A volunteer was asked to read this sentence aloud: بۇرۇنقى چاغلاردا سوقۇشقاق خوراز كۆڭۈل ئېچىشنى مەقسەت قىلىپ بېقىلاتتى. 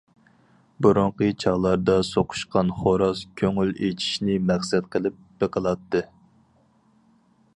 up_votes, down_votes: 0, 4